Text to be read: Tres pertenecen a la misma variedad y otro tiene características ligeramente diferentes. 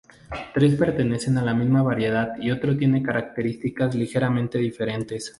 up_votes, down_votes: 2, 0